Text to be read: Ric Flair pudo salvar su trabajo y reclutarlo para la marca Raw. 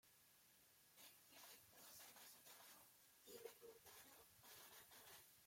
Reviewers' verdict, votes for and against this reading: rejected, 0, 2